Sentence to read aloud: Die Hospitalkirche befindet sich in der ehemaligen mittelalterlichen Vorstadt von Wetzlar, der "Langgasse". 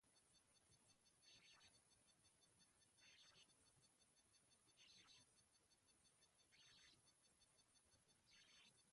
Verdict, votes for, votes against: rejected, 0, 2